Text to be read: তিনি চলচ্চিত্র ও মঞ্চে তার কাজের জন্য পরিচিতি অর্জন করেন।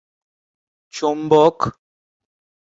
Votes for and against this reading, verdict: 0, 5, rejected